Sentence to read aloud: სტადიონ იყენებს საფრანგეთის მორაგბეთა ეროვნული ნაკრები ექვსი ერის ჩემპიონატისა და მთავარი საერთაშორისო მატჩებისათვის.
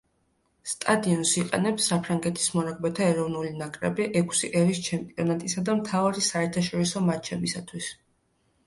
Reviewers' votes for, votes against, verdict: 2, 0, accepted